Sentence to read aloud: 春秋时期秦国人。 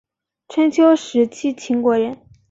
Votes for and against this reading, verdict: 2, 1, accepted